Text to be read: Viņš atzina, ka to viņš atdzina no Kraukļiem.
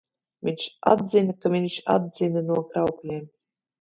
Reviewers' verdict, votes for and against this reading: rejected, 0, 2